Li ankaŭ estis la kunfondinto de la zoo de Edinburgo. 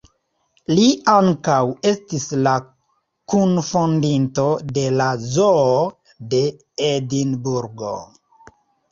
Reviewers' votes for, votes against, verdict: 3, 1, accepted